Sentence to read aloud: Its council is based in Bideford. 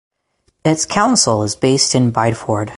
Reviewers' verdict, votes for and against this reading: accepted, 6, 0